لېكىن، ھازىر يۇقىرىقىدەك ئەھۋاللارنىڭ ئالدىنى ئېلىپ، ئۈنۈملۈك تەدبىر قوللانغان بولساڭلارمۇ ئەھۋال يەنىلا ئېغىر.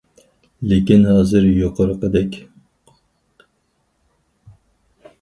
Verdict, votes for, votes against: rejected, 0, 4